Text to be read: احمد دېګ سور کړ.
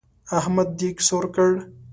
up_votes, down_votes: 2, 0